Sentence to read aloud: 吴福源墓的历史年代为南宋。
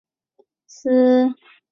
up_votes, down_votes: 3, 0